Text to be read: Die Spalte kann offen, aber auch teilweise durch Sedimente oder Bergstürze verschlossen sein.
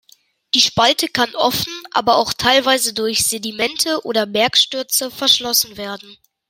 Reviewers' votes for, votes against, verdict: 0, 2, rejected